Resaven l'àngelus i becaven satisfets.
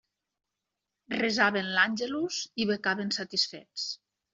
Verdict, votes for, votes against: accepted, 3, 0